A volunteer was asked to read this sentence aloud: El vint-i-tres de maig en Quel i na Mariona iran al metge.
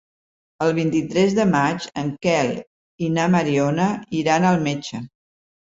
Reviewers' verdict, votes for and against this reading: accepted, 3, 0